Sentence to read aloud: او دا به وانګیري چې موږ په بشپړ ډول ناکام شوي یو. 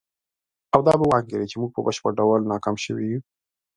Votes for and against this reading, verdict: 1, 2, rejected